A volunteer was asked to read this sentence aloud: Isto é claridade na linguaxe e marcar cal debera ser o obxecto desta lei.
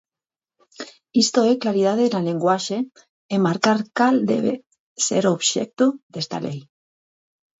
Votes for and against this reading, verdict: 0, 8, rejected